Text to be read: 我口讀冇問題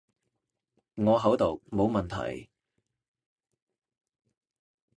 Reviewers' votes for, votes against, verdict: 2, 1, accepted